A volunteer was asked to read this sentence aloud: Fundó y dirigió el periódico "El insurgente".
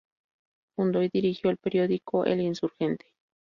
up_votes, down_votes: 2, 0